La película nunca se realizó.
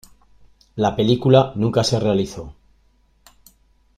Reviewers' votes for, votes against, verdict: 2, 0, accepted